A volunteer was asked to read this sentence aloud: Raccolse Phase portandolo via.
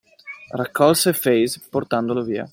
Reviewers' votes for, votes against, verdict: 2, 0, accepted